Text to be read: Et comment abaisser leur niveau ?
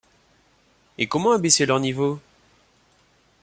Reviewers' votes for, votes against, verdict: 2, 0, accepted